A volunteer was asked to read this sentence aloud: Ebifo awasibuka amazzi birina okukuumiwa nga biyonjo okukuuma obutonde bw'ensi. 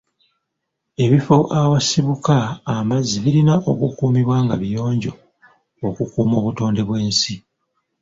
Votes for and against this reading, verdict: 0, 2, rejected